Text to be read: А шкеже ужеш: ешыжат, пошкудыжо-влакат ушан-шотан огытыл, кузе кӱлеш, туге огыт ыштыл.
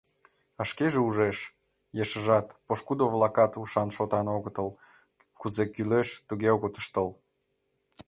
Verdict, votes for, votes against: rejected, 1, 2